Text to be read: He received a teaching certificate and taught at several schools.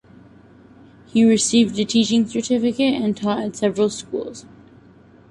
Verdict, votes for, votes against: accepted, 2, 0